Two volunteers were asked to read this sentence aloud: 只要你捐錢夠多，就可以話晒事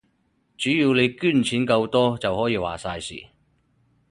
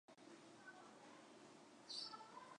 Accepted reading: first